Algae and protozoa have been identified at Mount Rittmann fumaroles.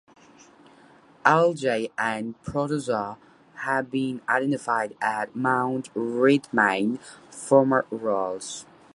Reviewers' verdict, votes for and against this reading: rejected, 1, 2